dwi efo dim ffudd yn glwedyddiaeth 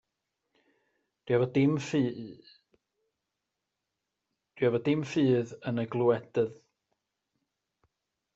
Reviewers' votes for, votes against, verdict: 0, 2, rejected